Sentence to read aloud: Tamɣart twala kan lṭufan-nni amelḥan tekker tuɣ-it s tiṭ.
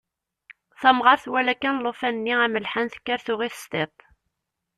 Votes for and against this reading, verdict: 0, 2, rejected